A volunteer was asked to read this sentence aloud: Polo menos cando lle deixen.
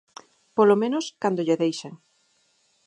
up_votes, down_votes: 4, 0